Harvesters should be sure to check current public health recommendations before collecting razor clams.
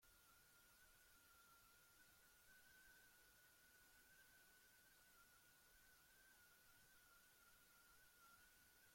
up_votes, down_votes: 0, 2